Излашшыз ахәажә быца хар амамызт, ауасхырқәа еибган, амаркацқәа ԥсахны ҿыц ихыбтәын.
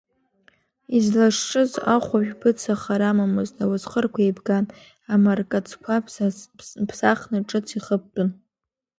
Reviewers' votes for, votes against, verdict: 1, 2, rejected